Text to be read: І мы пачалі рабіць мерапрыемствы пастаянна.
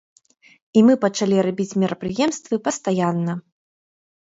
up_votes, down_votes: 2, 0